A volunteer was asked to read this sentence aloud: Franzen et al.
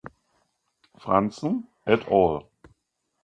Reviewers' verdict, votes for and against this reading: accepted, 2, 0